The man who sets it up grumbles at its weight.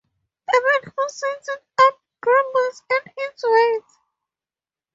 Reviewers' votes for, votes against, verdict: 0, 2, rejected